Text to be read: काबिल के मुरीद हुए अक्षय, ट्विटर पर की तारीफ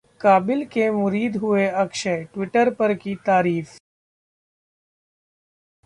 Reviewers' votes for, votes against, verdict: 2, 0, accepted